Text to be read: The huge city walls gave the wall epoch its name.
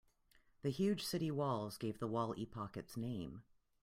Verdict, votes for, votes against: accepted, 2, 0